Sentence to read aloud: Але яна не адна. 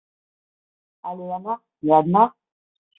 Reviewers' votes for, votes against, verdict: 0, 2, rejected